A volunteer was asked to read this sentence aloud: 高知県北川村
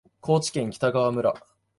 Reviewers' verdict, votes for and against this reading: accepted, 2, 0